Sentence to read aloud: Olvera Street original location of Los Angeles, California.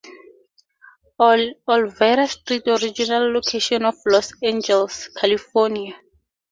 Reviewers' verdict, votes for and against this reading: rejected, 0, 2